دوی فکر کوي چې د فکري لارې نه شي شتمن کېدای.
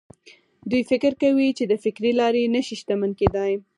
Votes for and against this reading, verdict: 2, 4, rejected